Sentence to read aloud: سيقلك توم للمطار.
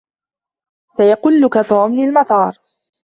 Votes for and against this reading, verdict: 0, 2, rejected